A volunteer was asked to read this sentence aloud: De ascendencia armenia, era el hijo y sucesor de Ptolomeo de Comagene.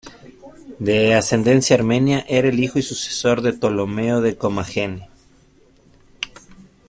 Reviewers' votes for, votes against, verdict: 2, 0, accepted